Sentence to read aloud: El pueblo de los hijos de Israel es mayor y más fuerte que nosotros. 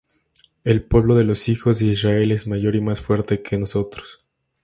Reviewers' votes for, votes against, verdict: 2, 0, accepted